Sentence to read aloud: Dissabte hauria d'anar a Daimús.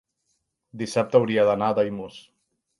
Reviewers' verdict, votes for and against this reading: accepted, 3, 0